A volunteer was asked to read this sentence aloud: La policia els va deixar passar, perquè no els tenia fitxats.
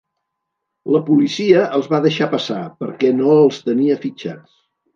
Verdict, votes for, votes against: accepted, 2, 0